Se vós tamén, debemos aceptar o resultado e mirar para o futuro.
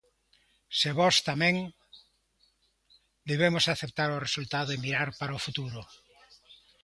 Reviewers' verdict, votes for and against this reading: accepted, 2, 0